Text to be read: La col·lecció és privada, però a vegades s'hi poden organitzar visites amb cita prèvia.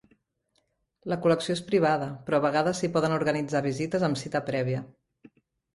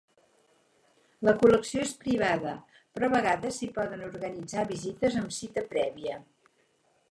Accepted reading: first